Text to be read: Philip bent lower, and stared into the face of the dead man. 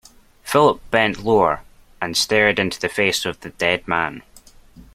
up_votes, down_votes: 2, 0